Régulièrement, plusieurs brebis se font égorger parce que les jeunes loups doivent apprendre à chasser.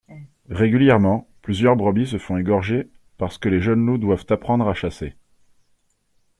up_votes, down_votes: 2, 0